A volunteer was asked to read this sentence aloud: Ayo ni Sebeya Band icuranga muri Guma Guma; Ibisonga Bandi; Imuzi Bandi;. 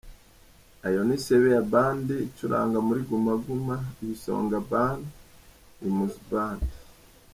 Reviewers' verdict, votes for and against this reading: rejected, 0, 2